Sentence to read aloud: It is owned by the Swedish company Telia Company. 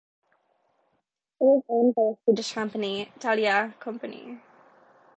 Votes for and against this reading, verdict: 0, 2, rejected